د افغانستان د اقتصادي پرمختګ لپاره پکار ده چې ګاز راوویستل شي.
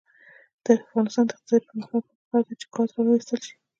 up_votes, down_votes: 0, 2